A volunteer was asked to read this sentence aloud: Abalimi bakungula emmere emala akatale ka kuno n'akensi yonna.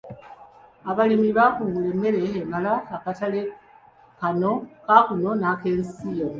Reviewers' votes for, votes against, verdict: 1, 2, rejected